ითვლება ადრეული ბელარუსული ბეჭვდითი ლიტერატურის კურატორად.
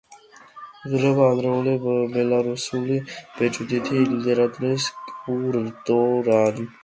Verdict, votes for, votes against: rejected, 0, 2